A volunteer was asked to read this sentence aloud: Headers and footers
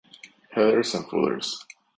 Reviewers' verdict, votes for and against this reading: accepted, 4, 0